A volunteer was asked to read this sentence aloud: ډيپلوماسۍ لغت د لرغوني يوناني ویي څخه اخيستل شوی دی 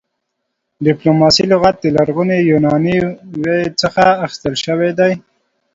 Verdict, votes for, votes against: accepted, 2, 0